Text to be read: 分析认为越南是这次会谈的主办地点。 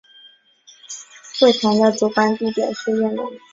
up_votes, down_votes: 0, 2